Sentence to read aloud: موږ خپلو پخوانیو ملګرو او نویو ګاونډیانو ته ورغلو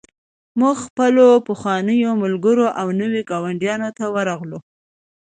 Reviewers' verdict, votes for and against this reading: accepted, 2, 0